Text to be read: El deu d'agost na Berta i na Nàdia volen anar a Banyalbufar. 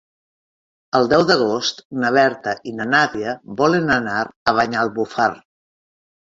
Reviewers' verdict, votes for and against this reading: accepted, 2, 0